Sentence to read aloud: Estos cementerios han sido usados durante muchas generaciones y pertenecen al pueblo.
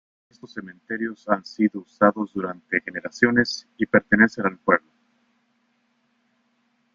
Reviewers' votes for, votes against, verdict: 1, 2, rejected